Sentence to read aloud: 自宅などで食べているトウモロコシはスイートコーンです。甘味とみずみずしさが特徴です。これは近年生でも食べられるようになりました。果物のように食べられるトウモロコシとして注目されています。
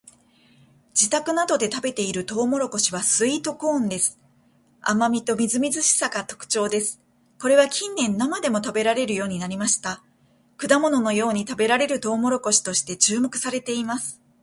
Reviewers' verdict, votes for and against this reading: accepted, 2, 0